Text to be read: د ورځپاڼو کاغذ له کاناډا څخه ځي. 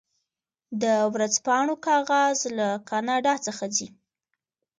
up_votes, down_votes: 2, 0